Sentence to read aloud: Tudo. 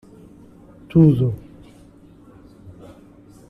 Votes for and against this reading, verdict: 2, 0, accepted